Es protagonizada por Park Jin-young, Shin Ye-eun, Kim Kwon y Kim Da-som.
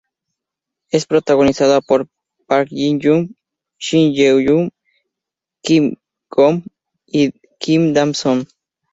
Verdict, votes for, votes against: accepted, 2, 0